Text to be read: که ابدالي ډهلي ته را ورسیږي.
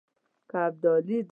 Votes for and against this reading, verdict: 1, 2, rejected